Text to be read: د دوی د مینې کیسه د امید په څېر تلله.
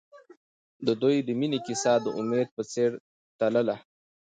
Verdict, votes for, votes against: accepted, 2, 0